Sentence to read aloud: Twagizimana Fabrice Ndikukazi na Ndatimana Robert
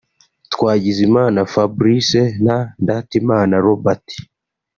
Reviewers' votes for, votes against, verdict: 0, 2, rejected